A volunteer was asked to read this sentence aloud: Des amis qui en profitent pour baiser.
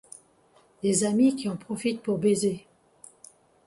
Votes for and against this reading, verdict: 2, 0, accepted